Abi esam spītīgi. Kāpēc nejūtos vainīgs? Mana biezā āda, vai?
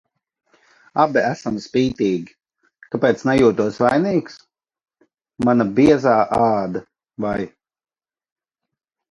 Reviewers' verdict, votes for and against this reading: accepted, 2, 0